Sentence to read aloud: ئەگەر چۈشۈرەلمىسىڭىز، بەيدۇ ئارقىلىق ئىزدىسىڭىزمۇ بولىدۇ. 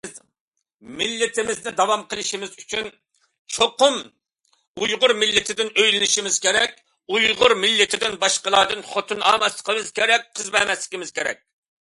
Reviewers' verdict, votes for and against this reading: rejected, 0, 2